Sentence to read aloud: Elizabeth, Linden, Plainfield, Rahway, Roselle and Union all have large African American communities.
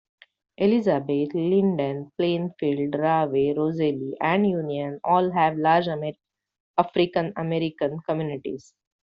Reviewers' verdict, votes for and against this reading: accepted, 2, 1